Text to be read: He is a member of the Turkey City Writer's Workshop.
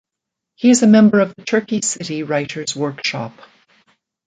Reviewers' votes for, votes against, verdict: 1, 2, rejected